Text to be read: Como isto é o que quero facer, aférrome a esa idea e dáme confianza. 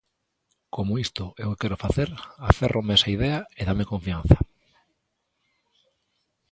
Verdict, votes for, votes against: rejected, 0, 2